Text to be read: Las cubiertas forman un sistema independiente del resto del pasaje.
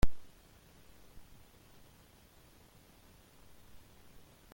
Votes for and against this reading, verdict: 0, 2, rejected